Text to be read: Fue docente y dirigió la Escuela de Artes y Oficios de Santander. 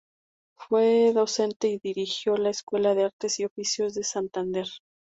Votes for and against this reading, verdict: 2, 0, accepted